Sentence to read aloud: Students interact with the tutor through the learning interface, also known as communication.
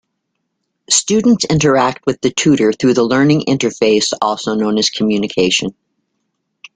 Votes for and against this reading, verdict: 2, 0, accepted